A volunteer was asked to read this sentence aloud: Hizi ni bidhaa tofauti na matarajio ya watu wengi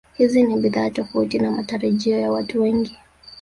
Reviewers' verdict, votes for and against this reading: accepted, 2, 0